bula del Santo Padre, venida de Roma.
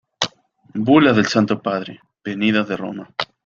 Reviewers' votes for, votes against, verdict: 2, 0, accepted